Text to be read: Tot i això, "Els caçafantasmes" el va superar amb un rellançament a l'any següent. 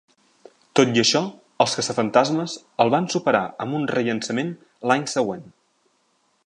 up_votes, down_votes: 0, 2